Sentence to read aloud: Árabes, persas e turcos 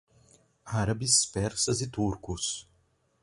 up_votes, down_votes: 2, 2